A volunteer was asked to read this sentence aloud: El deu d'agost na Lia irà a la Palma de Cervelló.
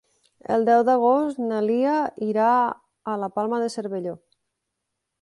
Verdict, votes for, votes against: accepted, 3, 0